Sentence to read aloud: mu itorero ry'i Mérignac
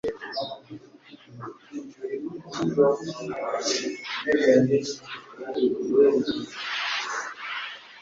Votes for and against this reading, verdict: 0, 2, rejected